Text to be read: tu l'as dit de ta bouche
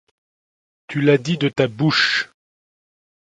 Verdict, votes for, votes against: accepted, 2, 0